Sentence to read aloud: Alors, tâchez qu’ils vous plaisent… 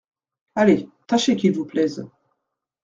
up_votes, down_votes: 0, 2